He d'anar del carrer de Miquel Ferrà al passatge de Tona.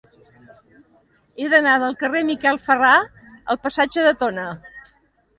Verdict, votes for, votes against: rejected, 1, 2